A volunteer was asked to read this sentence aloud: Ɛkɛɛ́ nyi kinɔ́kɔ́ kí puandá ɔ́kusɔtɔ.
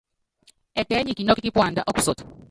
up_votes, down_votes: 0, 3